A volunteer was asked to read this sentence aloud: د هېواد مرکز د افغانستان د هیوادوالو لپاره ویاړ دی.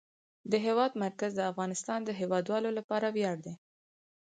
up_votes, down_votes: 4, 0